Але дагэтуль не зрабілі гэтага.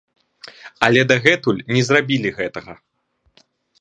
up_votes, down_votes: 2, 0